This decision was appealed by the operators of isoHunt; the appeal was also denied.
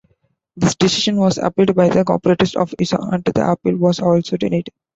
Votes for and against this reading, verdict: 2, 1, accepted